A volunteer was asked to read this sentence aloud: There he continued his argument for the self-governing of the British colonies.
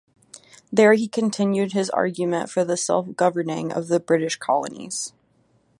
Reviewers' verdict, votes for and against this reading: accepted, 2, 0